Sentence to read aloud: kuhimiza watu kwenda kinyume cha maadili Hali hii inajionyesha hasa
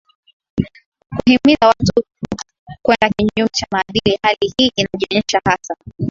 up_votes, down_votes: 6, 4